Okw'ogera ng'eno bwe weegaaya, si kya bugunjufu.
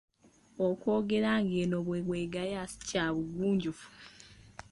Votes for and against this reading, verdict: 0, 2, rejected